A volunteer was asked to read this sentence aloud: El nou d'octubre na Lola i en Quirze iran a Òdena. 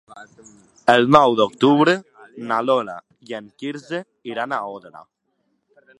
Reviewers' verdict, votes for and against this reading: rejected, 1, 2